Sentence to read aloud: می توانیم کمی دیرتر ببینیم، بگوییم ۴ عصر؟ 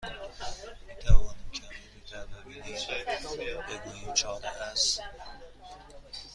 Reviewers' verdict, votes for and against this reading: rejected, 0, 2